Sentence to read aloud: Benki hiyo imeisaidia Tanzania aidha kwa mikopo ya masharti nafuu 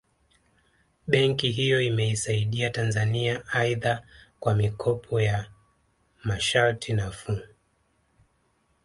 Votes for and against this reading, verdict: 3, 0, accepted